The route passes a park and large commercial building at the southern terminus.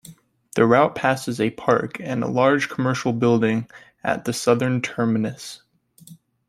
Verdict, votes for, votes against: accepted, 2, 0